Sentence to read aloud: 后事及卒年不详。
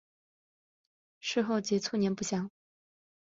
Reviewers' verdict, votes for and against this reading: rejected, 1, 2